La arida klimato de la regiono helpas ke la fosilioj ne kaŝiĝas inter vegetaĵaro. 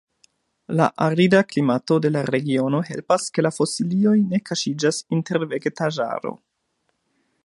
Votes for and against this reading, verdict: 2, 0, accepted